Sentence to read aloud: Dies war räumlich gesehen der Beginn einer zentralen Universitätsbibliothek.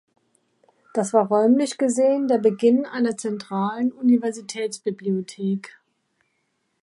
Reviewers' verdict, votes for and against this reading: rejected, 0, 2